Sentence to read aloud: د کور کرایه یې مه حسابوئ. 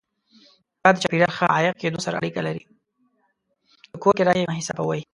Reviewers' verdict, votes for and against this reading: rejected, 0, 2